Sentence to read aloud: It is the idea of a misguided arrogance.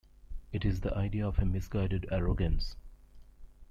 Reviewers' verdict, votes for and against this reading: accepted, 2, 0